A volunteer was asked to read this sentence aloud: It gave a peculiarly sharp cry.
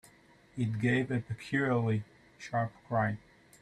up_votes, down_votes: 1, 2